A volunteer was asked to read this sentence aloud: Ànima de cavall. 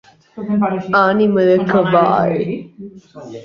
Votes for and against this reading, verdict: 0, 3, rejected